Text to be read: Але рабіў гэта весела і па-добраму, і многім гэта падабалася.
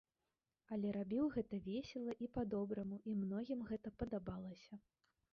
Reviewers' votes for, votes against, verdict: 1, 3, rejected